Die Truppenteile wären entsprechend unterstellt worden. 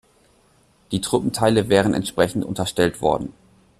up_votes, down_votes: 2, 0